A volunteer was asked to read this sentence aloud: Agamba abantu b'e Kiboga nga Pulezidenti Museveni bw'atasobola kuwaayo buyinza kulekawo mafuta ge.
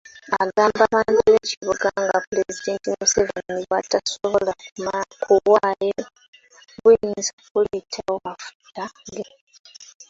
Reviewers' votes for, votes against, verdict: 1, 2, rejected